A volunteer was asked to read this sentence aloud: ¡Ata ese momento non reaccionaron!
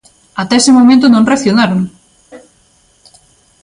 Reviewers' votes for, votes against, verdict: 2, 0, accepted